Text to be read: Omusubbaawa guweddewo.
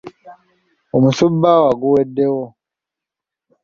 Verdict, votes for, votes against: accepted, 2, 0